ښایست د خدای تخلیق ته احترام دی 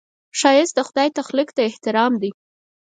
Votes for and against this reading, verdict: 4, 0, accepted